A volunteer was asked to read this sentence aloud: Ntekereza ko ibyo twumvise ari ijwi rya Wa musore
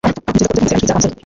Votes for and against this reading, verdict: 1, 2, rejected